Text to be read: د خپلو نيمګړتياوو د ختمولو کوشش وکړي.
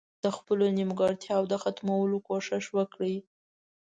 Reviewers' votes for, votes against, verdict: 1, 2, rejected